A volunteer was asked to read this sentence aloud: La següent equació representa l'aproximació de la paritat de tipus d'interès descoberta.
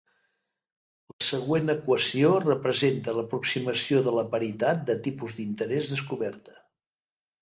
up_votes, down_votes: 1, 2